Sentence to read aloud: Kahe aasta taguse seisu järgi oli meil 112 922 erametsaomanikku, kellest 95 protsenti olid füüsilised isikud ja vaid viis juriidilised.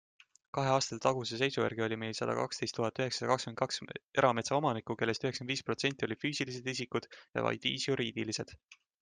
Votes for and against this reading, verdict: 0, 2, rejected